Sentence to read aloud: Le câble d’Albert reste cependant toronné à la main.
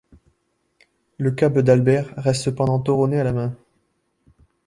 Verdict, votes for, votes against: rejected, 0, 2